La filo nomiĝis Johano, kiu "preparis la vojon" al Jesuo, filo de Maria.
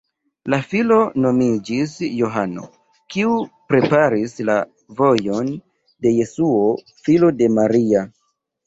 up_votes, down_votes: 1, 2